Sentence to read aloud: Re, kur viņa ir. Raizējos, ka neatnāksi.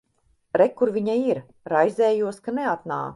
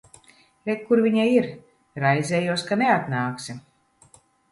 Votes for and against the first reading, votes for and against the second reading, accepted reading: 0, 3, 2, 0, second